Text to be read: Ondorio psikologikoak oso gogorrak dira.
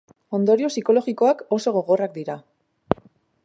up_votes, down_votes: 3, 0